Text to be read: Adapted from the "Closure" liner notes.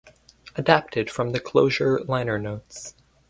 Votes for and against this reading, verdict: 4, 0, accepted